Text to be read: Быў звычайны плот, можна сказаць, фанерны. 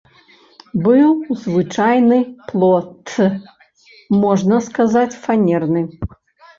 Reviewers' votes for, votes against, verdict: 0, 2, rejected